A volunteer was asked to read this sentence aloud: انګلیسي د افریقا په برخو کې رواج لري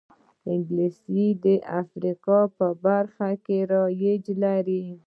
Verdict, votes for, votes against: rejected, 1, 2